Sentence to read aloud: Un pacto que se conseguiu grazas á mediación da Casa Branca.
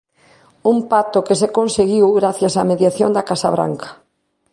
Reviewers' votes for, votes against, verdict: 0, 2, rejected